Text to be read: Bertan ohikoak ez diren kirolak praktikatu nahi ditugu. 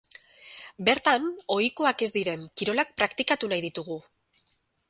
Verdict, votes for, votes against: rejected, 2, 2